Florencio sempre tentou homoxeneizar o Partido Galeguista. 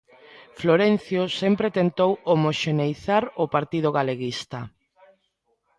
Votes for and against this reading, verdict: 1, 2, rejected